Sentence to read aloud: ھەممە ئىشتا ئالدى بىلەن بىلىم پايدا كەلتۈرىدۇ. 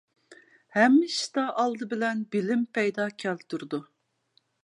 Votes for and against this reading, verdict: 1, 2, rejected